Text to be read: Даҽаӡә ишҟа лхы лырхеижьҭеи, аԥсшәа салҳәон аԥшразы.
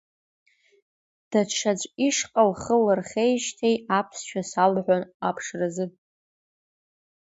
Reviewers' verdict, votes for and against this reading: accepted, 2, 0